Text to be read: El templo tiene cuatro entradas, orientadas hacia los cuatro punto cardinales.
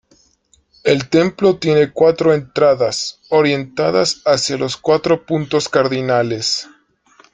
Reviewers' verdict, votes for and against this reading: accepted, 2, 0